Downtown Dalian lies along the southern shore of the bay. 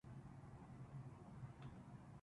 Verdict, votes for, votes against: rejected, 0, 2